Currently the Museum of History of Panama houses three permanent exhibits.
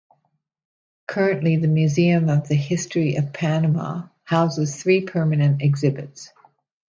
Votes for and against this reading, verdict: 1, 2, rejected